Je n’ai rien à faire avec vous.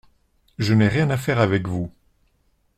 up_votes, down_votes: 2, 0